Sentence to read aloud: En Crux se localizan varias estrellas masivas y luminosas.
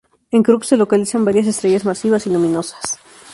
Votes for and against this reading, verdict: 0, 2, rejected